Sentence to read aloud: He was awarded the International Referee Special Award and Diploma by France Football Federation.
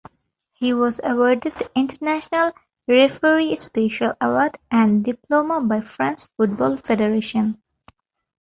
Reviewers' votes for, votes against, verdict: 2, 0, accepted